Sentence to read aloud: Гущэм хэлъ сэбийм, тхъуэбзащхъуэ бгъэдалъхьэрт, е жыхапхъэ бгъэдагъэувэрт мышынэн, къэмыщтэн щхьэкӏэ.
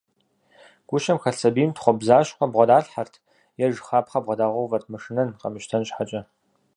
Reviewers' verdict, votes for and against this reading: accepted, 4, 0